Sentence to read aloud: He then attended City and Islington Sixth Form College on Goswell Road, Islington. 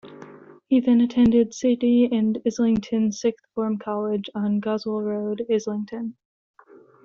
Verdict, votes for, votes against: accepted, 2, 0